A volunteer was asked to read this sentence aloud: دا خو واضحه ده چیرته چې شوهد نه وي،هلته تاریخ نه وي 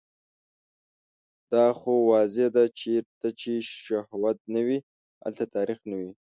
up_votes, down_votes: 1, 2